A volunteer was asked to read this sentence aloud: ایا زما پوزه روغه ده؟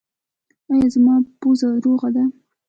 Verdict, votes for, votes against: accepted, 2, 0